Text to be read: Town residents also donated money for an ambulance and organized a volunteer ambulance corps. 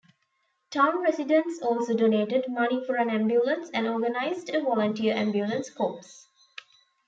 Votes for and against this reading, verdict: 1, 2, rejected